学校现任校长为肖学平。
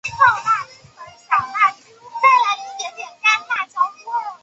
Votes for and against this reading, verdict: 0, 4, rejected